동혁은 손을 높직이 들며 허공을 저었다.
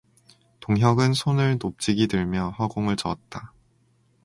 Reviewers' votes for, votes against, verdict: 2, 0, accepted